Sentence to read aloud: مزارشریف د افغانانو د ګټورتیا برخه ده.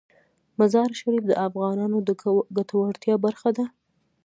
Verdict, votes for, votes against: rejected, 1, 2